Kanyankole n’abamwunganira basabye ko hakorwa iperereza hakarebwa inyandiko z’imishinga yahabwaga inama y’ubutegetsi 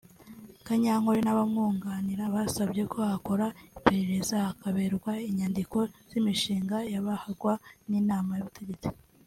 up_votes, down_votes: 1, 2